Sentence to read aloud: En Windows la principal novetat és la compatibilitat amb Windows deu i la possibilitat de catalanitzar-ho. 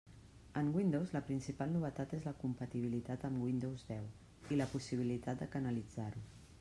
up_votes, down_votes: 0, 2